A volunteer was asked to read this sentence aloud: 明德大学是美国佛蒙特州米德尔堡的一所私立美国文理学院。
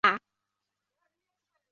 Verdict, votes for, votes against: rejected, 0, 3